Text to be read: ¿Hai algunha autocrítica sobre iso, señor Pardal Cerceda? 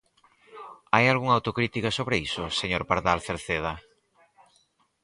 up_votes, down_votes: 4, 0